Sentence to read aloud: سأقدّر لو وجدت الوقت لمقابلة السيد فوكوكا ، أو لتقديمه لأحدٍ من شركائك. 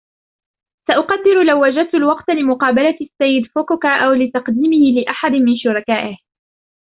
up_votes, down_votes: 1, 2